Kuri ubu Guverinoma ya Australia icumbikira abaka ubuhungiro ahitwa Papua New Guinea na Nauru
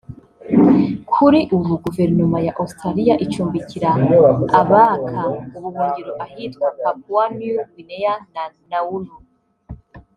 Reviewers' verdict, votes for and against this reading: rejected, 1, 2